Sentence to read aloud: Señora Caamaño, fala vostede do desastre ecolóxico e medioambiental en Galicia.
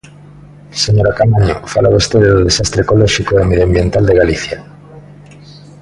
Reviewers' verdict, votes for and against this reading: rejected, 0, 2